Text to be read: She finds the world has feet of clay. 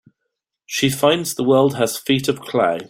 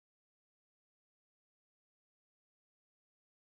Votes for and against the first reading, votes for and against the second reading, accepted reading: 2, 0, 1, 2, first